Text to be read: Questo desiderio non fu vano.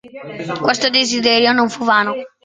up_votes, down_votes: 2, 0